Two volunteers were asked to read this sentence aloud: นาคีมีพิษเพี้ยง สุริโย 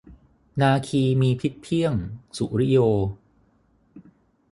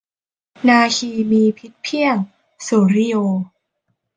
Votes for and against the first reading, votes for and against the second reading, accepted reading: 0, 6, 2, 1, second